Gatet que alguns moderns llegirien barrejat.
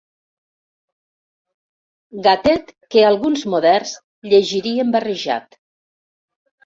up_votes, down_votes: 1, 2